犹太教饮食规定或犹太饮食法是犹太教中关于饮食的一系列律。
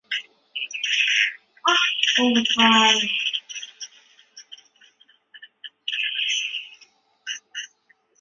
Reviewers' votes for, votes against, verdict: 0, 2, rejected